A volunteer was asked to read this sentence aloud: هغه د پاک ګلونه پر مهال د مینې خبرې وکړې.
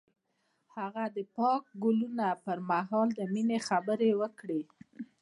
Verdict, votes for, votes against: accepted, 2, 0